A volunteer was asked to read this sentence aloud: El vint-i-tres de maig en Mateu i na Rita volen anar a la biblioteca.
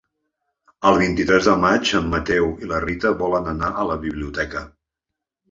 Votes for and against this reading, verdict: 1, 2, rejected